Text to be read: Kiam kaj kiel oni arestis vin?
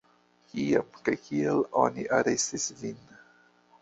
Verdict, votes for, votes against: rejected, 1, 2